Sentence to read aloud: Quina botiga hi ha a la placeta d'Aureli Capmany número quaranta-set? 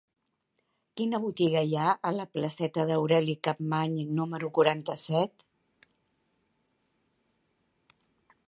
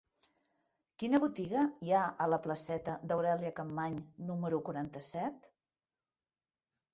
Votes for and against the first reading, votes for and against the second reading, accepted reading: 2, 0, 0, 2, first